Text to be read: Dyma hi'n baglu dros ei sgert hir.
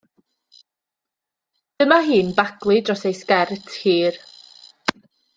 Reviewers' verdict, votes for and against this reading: accepted, 2, 0